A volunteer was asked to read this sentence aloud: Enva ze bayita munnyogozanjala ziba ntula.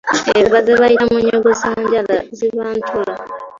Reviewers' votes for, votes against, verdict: 1, 2, rejected